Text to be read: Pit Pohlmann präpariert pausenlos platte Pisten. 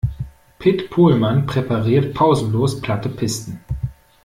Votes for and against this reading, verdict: 2, 0, accepted